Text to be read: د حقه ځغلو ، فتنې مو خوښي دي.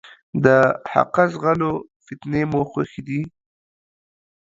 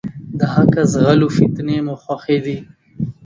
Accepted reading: second